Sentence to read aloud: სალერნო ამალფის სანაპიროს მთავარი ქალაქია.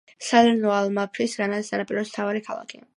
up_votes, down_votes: 1, 2